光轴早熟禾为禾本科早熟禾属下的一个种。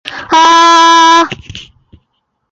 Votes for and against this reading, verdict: 0, 6, rejected